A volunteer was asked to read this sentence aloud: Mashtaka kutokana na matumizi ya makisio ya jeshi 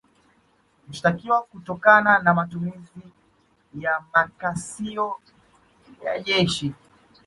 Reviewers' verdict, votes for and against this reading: accepted, 2, 0